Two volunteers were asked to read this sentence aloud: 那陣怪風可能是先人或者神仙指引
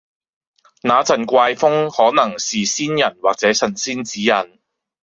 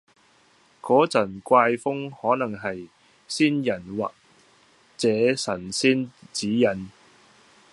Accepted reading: first